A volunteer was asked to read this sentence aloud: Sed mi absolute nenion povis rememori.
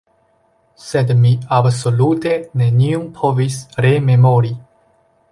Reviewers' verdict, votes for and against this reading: rejected, 1, 2